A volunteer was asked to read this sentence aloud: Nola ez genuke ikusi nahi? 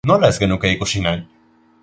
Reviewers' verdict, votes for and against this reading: accepted, 2, 0